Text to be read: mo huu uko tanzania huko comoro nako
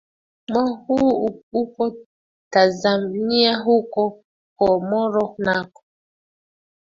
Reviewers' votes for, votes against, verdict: 2, 1, accepted